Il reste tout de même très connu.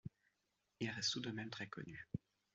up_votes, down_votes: 2, 0